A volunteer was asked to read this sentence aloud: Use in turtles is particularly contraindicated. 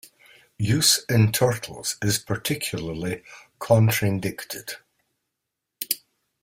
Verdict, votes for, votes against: rejected, 1, 2